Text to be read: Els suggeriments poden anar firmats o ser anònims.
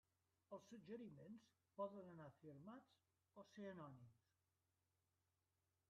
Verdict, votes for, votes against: rejected, 0, 2